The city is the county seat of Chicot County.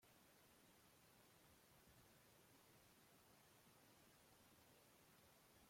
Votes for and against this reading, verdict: 0, 3, rejected